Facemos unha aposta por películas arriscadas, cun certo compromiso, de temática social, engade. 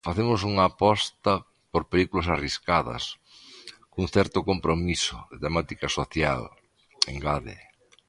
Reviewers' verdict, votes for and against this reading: accepted, 2, 0